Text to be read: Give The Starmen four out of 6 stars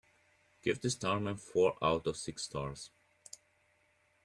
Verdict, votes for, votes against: rejected, 0, 2